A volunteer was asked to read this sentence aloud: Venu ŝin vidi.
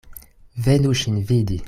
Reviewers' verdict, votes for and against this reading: accepted, 2, 0